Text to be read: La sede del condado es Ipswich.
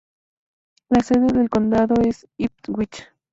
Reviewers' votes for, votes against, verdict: 2, 0, accepted